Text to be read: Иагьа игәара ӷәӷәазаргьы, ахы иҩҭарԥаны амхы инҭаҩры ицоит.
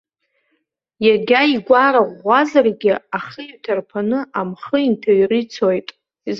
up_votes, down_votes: 1, 2